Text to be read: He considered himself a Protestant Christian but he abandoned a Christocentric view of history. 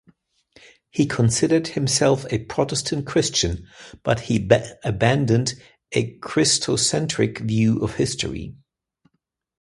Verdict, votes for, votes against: rejected, 1, 2